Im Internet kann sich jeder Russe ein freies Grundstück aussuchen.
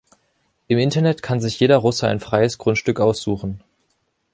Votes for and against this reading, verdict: 2, 0, accepted